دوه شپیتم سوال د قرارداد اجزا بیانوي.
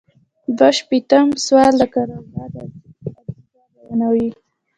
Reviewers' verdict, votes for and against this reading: rejected, 0, 2